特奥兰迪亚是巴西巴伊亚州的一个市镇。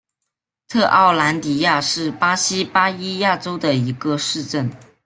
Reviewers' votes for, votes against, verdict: 2, 0, accepted